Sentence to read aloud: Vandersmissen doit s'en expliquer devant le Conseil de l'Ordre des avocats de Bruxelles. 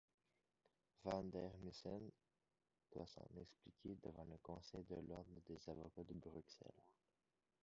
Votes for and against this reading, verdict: 1, 3, rejected